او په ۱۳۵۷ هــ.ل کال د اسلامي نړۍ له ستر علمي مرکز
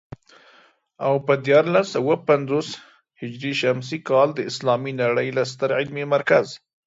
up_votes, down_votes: 0, 2